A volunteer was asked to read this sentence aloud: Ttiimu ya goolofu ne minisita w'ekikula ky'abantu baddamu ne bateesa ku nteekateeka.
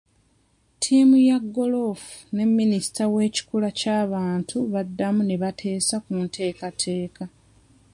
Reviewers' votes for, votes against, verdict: 2, 0, accepted